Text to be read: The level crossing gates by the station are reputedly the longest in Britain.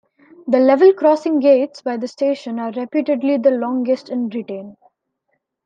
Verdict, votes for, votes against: accepted, 2, 0